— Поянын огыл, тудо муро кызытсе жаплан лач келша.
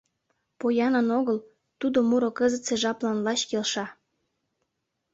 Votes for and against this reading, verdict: 3, 0, accepted